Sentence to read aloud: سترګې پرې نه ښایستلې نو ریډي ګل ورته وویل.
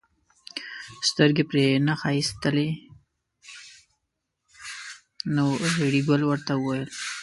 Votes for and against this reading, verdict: 1, 2, rejected